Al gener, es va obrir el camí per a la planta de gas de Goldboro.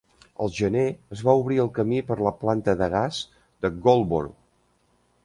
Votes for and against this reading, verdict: 1, 2, rejected